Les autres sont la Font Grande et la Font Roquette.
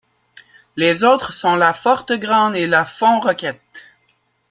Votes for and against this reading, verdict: 0, 2, rejected